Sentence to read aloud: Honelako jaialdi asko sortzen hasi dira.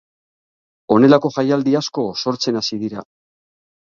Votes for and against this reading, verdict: 0, 3, rejected